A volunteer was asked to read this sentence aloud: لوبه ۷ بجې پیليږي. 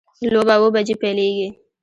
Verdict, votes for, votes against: rejected, 0, 2